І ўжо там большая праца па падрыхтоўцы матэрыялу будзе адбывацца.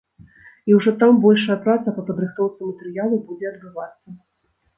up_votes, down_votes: 1, 2